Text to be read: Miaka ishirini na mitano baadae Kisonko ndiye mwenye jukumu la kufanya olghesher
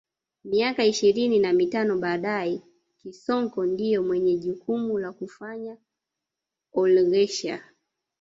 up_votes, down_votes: 1, 2